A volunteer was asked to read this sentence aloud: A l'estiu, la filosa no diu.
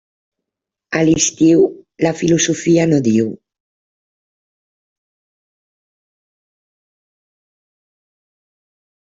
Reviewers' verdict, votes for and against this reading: rejected, 0, 2